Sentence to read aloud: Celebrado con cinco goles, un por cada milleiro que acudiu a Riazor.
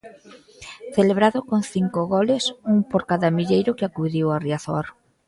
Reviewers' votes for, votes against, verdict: 2, 0, accepted